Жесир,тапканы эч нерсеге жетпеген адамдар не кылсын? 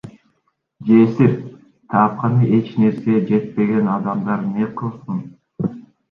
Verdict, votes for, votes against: accepted, 2, 0